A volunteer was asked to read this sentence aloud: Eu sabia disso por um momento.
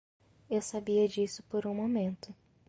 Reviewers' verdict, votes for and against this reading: accepted, 2, 0